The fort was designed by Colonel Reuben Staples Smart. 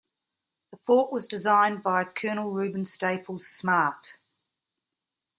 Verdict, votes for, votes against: accepted, 2, 0